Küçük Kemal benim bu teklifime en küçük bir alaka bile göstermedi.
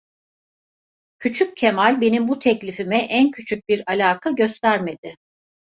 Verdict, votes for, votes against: rejected, 0, 2